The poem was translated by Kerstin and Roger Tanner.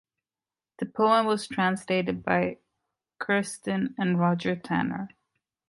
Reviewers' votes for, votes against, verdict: 2, 0, accepted